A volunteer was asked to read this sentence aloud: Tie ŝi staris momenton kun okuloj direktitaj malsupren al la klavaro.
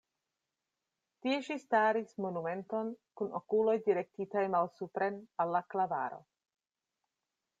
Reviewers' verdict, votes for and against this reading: rejected, 0, 2